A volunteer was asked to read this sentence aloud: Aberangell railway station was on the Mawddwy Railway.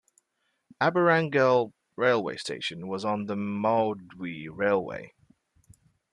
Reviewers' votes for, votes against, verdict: 1, 2, rejected